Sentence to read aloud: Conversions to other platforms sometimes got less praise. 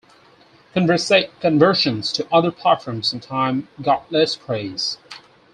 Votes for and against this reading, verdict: 0, 4, rejected